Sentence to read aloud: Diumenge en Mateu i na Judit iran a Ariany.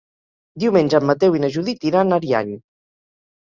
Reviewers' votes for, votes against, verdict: 3, 0, accepted